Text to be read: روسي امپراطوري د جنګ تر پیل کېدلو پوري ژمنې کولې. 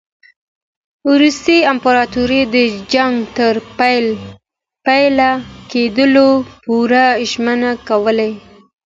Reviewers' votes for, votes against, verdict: 2, 1, accepted